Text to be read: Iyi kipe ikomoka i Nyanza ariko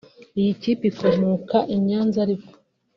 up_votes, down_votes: 0, 2